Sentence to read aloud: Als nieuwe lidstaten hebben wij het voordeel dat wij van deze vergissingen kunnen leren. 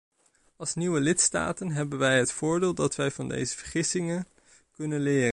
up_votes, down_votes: 1, 2